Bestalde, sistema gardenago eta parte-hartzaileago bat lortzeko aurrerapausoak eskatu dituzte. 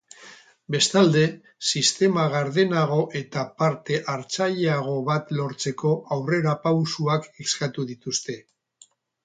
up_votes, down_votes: 4, 2